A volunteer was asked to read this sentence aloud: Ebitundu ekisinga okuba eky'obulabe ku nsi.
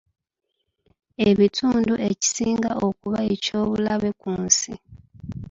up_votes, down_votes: 1, 2